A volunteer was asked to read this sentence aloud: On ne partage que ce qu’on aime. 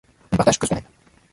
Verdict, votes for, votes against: rejected, 0, 2